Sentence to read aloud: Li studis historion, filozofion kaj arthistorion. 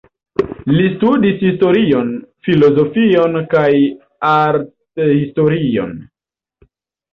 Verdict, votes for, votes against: accepted, 2, 0